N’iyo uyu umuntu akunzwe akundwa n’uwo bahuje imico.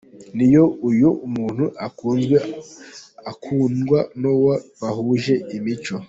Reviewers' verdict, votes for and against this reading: accepted, 2, 1